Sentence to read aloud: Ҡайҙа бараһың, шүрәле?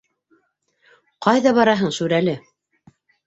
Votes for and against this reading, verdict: 1, 2, rejected